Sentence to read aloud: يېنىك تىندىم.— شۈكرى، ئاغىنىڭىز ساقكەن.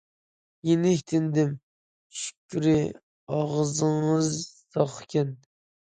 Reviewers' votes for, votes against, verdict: 0, 2, rejected